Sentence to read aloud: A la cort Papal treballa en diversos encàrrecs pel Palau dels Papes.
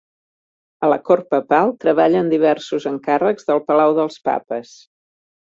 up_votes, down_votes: 2, 0